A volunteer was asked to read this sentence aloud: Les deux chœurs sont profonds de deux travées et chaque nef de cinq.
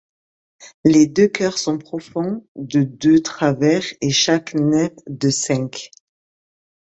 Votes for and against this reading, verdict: 0, 2, rejected